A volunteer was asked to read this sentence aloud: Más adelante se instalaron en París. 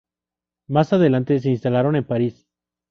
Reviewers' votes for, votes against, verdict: 4, 0, accepted